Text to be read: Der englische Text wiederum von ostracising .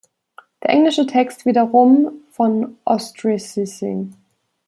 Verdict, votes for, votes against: rejected, 1, 2